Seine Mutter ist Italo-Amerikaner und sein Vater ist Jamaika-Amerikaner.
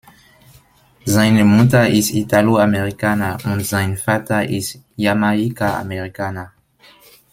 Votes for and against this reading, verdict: 1, 2, rejected